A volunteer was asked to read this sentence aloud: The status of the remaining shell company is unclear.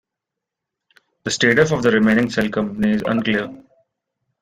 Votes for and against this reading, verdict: 1, 2, rejected